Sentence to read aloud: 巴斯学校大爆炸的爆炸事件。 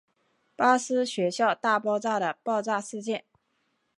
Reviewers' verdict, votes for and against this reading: accepted, 3, 1